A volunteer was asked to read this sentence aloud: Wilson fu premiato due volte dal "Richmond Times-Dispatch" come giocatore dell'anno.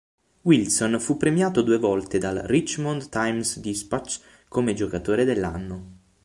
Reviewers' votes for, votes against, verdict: 3, 6, rejected